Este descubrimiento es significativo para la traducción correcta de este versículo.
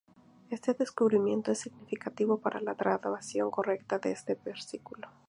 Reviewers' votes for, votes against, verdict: 0, 2, rejected